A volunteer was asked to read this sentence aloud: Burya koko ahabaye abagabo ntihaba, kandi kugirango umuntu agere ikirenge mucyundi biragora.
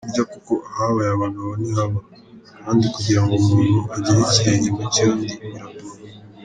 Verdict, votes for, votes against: rejected, 0, 3